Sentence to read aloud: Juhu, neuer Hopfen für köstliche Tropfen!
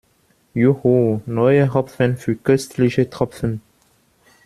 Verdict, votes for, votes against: accepted, 2, 0